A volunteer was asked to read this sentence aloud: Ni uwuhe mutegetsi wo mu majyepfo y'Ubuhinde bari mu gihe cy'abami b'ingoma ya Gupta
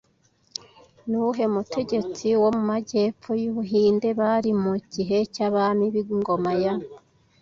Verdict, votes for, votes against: rejected, 0, 2